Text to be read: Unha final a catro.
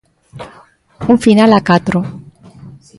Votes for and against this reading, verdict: 0, 2, rejected